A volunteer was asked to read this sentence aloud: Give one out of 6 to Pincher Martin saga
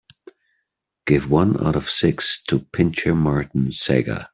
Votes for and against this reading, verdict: 0, 2, rejected